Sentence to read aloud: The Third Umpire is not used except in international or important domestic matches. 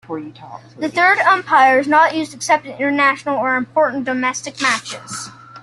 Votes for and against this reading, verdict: 2, 1, accepted